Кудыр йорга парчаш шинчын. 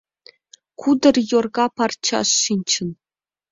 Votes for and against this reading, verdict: 2, 0, accepted